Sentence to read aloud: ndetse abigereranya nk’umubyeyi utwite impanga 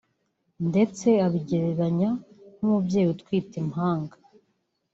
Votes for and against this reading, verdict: 2, 0, accepted